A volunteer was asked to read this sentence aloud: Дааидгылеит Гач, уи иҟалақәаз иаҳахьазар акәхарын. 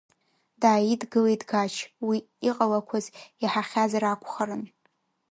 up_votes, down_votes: 2, 0